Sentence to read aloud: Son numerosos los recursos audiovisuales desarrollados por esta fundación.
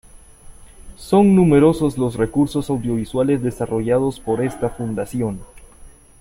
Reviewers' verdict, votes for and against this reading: accepted, 2, 0